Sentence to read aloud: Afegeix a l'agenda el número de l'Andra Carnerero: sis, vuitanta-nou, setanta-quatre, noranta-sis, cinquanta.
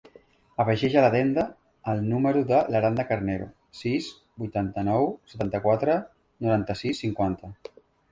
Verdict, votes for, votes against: accepted, 2, 1